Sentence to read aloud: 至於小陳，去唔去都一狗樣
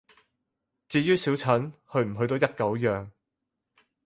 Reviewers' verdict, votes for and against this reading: accepted, 4, 0